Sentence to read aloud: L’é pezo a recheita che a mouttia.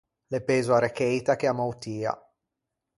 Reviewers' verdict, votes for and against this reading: rejected, 0, 4